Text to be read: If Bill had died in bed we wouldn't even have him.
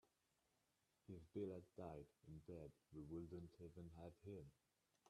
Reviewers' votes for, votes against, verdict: 1, 2, rejected